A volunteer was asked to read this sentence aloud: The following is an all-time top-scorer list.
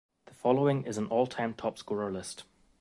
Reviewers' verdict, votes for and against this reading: accepted, 2, 0